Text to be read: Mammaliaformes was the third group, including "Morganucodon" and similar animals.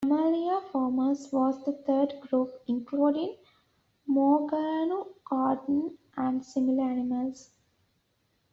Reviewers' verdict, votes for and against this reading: rejected, 1, 2